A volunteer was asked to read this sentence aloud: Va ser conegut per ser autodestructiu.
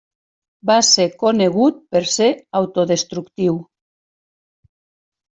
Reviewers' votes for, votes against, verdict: 3, 0, accepted